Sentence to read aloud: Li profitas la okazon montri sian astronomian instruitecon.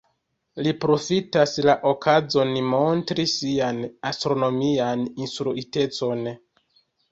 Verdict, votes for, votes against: accepted, 2, 0